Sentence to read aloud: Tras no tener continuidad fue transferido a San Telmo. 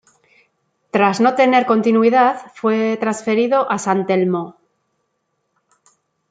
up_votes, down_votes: 1, 2